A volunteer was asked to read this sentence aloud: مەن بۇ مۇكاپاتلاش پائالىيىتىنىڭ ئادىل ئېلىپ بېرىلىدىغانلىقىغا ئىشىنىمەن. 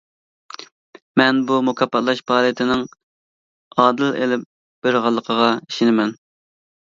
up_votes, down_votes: 1, 2